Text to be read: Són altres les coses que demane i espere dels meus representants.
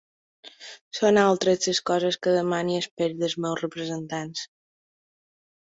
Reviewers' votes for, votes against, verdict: 0, 2, rejected